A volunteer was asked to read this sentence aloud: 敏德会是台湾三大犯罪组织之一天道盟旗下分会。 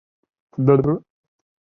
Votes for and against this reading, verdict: 0, 3, rejected